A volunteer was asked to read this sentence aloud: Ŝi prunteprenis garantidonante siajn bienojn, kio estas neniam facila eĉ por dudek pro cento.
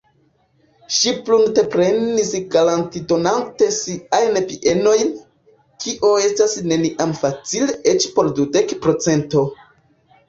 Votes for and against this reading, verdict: 2, 1, accepted